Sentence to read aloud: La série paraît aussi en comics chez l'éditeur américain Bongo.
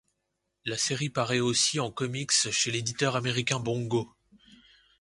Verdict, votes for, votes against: accepted, 2, 0